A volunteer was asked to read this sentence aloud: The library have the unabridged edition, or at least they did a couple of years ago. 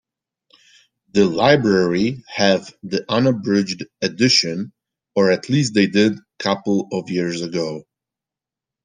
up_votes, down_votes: 1, 2